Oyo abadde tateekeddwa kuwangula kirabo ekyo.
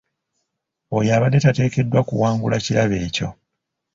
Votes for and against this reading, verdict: 3, 0, accepted